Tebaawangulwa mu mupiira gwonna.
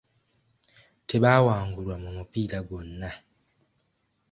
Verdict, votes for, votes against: accepted, 2, 1